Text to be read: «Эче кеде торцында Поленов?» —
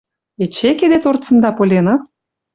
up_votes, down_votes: 2, 0